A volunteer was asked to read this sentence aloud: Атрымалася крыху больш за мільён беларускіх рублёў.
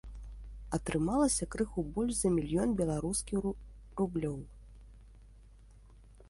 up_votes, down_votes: 1, 2